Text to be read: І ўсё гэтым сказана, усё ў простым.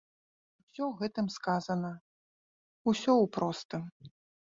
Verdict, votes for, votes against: rejected, 1, 2